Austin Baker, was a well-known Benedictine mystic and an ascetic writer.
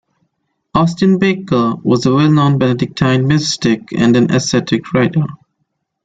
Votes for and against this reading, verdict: 2, 0, accepted